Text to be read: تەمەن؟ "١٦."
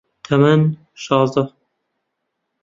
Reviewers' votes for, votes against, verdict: 0, 2, rejected